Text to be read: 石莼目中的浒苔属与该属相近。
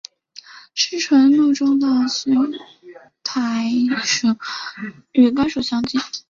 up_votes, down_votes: 1, 2